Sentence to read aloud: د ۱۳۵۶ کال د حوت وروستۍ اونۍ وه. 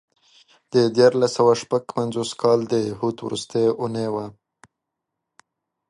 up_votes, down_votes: 0, 2